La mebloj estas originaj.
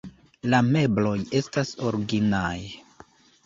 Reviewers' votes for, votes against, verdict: 1, 2, rejected